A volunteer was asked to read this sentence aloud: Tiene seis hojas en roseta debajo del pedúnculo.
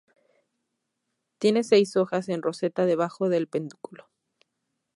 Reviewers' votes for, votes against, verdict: 2, 0, accepted